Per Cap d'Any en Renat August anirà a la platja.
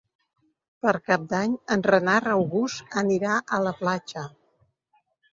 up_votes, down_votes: 1, 2